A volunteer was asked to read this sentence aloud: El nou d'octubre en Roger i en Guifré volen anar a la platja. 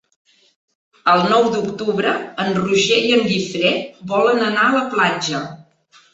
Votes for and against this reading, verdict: 3, 0, accepted